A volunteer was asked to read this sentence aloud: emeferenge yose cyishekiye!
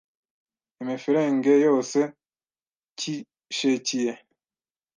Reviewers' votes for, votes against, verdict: 1, 2, rejected